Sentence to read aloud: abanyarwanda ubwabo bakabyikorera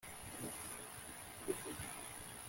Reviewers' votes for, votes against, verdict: 1, 2, rejected